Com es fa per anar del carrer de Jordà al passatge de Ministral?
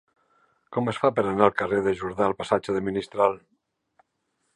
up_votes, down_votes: 1, 2